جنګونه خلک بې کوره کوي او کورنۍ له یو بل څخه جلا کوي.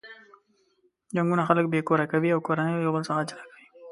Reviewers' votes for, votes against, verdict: 1, 2, rejected